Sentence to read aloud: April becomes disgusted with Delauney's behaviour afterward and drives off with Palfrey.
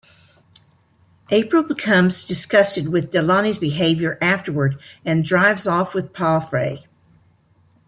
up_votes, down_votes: 2, 0